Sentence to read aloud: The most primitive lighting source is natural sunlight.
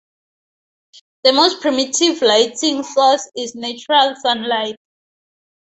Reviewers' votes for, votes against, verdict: 2, 0, accepted